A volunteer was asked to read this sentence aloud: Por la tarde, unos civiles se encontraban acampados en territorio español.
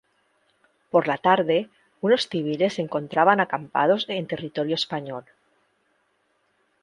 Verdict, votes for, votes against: rejected, 0, 2